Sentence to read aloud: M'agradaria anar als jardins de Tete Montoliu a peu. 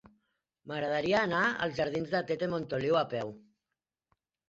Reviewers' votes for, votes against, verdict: 3, 0, accepted